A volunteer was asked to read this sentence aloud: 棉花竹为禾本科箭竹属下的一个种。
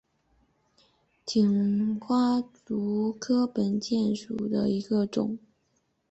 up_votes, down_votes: 0, 5